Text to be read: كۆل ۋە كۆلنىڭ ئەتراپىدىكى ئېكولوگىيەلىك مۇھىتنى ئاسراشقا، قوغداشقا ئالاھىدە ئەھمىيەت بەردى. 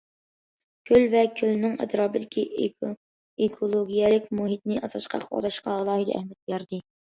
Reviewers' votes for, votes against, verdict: 0, 2, rejected